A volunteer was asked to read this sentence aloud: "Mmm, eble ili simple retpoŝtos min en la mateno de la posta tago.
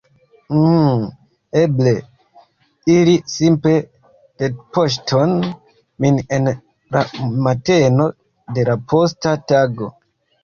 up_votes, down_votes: 1, 2